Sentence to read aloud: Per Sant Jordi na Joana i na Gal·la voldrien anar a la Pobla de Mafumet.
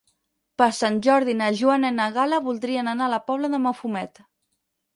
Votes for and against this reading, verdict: 6, 0, accepted